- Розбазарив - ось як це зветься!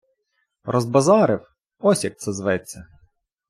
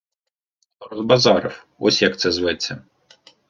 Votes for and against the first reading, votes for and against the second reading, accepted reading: 2, 0, 0, 2, first